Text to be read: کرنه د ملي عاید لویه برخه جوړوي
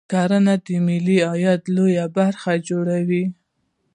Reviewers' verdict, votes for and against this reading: accepted, 2, 0